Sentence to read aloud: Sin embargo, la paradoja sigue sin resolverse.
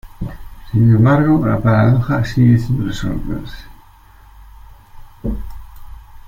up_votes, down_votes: 0, 2